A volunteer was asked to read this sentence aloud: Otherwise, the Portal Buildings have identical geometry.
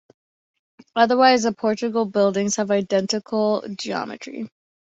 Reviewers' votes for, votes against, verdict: 2, 1, accepted